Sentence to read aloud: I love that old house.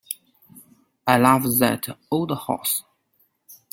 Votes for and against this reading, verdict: 1, 2, rejected